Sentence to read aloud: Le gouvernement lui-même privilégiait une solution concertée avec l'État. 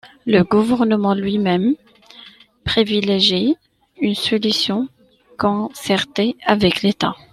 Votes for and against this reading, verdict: 1, 2, rejected